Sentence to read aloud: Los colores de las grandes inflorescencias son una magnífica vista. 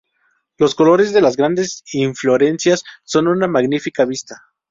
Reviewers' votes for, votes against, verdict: 0, 2, rejected